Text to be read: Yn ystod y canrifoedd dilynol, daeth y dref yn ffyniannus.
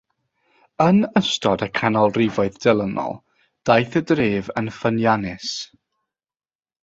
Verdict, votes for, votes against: rejected, 0, 6